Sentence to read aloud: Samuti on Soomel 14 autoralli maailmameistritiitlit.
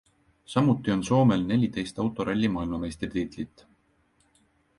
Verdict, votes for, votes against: rejected, 0, 2